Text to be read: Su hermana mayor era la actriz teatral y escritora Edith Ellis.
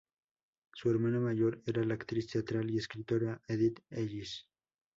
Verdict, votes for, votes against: accepted, 2, 0